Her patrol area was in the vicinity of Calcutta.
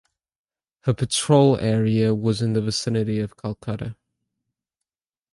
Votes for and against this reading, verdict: 2, 0, accepted